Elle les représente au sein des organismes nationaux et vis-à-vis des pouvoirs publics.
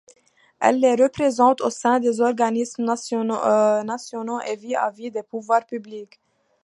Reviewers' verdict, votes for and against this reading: rejected, 0, 2